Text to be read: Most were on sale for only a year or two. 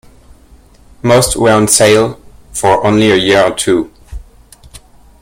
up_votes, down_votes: 2, 0